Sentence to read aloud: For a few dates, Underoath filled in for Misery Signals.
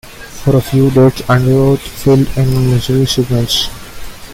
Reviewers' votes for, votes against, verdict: 0, 2, rejected